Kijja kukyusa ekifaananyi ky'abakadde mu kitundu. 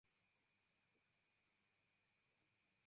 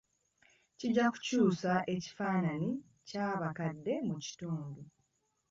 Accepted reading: second